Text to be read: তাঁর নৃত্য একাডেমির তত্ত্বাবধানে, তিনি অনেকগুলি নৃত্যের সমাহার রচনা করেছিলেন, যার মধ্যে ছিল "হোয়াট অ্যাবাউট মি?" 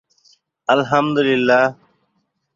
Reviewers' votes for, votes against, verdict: 0, 4, rejected